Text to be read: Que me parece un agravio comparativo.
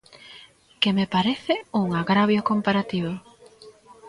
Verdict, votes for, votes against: accepted, 2, 0